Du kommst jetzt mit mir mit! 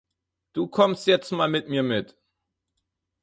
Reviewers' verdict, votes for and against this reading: rejected, 0, 4